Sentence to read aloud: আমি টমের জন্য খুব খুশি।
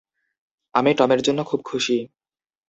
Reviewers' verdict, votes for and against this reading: accepted, 2, 0